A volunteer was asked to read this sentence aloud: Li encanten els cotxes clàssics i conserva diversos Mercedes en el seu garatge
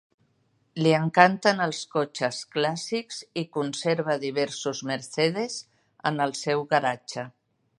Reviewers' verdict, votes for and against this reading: accepted, 2, 0